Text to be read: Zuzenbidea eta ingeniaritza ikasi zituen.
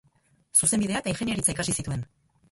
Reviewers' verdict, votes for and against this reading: rejected, 2, 4